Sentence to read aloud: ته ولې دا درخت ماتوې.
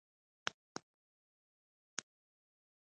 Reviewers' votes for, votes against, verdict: 1, 2, rejected